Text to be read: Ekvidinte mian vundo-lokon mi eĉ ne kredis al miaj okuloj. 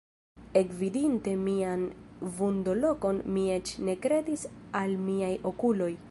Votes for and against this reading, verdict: 2, 1, accepted